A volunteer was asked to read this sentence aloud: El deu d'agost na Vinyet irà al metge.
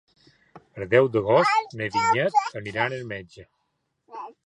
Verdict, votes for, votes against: accepted, 2, 0